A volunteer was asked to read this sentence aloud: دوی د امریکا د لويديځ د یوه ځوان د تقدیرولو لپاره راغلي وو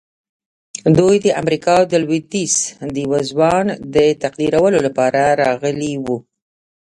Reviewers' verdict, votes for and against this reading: rejected, 1, 2